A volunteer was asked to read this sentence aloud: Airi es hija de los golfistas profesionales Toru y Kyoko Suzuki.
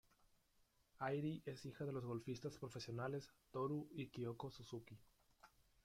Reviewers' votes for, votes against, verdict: 0, 2, rejected